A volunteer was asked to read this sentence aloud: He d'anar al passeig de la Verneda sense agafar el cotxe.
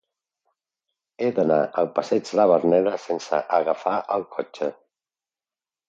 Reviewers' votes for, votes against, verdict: 0, 2, rejected